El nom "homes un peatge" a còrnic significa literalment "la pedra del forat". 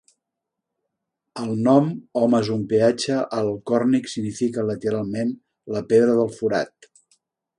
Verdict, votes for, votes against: rejected, 0, 2